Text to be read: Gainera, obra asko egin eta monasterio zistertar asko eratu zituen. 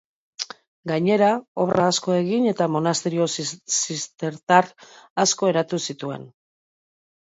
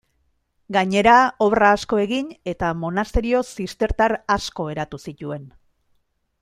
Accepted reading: second